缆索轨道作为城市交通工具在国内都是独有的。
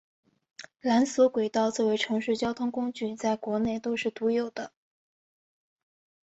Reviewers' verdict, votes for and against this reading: accepted, 2, 0